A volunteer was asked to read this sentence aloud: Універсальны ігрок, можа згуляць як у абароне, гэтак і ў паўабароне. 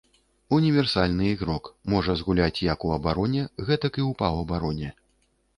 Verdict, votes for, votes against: accepted, 2, 0